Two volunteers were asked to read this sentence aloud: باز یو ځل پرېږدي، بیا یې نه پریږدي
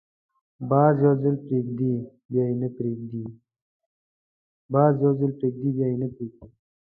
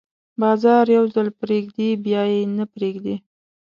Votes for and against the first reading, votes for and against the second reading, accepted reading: 1, 2, 2, 0, second